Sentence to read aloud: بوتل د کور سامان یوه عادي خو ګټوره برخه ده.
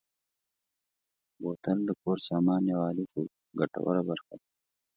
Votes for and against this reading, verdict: 3, 0, accepted